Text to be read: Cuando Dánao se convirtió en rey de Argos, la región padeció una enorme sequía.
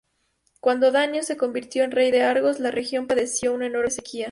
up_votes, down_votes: 0, 2